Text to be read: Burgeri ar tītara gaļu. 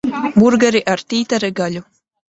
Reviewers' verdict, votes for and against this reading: accepted, 2, 1